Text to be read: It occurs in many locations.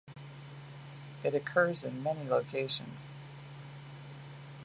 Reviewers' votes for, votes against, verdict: 2, 0, accepted